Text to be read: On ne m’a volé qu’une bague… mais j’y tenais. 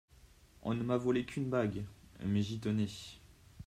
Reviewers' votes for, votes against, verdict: 2, 0, accepted